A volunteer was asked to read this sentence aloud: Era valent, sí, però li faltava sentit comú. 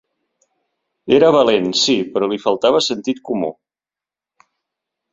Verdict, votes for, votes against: accepted, 5, 1